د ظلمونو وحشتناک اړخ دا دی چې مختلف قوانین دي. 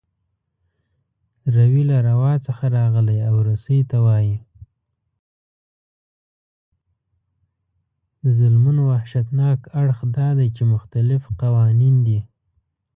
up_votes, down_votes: 0, 2